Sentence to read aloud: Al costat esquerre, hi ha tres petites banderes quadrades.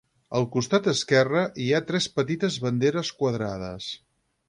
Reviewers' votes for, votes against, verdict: 6, 0, accepted